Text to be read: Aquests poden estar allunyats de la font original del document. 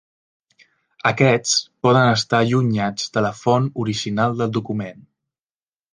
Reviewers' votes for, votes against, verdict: 3, 0, accepted